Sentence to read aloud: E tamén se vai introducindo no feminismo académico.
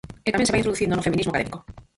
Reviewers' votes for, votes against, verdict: 0, 4, rejected